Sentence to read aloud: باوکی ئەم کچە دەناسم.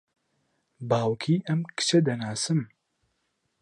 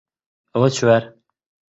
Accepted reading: first